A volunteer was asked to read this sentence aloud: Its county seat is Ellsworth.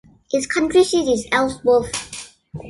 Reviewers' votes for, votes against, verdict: 1, 2, rejected